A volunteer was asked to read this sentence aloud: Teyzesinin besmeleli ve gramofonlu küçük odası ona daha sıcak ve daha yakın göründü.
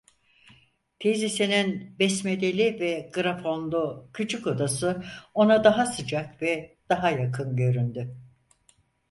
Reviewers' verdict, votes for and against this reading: rejected, 0, 4